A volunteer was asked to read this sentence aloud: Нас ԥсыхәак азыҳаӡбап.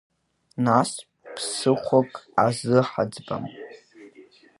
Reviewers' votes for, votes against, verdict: 3, 1, accepted